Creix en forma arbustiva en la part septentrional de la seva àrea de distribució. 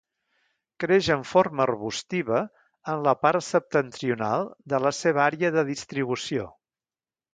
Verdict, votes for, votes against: accepted, 2, 0